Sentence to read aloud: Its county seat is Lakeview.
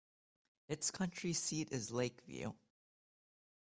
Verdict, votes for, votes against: rejected, 1, 2